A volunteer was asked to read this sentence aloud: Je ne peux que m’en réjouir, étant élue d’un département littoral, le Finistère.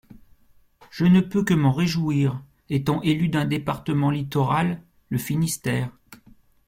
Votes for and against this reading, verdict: 2, 0, accepted